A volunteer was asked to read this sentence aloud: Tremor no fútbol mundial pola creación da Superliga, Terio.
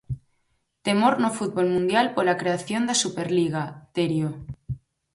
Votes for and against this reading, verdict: 0, 4, rejected